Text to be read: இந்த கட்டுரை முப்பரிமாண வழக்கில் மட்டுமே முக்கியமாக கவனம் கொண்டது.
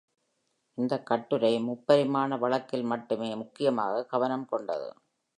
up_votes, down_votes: 2, 0